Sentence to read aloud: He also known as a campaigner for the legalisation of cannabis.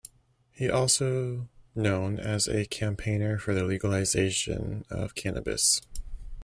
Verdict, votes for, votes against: rejected, 0, 2